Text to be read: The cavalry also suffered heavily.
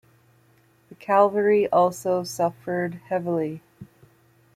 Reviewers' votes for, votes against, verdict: 1, 2, rejected